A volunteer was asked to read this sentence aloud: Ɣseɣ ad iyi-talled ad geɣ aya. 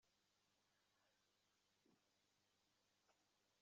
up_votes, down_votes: 1, 2